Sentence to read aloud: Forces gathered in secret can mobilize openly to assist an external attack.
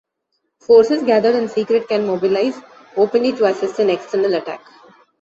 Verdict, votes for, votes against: rejected, 1, 2